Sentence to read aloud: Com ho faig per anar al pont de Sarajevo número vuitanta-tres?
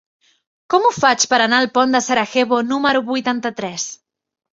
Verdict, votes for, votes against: rejected, 0, 2